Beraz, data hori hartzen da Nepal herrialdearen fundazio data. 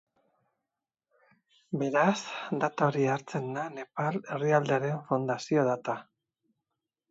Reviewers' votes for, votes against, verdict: 4, 0, accepted